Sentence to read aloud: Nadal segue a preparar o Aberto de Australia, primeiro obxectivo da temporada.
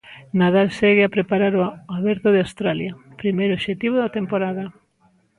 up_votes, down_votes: 2, 0